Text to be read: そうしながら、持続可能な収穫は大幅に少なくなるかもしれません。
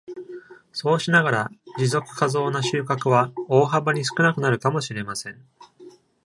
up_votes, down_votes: 1, 2